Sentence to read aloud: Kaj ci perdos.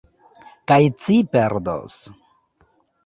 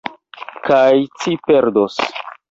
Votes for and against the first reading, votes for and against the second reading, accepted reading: 2, 0, 1, 2, first